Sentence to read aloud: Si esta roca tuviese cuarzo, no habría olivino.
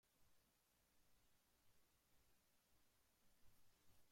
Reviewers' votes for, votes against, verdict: 0, 2, rejected